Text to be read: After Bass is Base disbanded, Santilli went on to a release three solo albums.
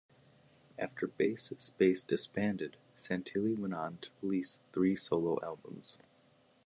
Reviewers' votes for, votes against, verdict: 2, 0, accepted